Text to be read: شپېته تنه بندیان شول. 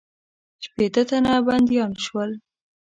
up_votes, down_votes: 1, 2